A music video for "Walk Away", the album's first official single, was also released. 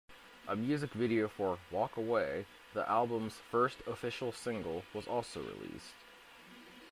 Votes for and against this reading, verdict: 2, 1, accepted